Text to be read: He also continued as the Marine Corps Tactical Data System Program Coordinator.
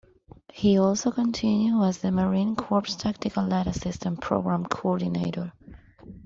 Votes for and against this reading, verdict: 0, 2, rejected